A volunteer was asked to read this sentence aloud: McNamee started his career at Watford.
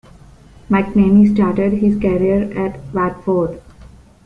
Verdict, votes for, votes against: rejected, 1, 2